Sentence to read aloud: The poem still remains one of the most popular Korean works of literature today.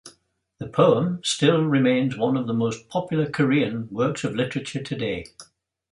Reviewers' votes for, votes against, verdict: 3, 0, accepted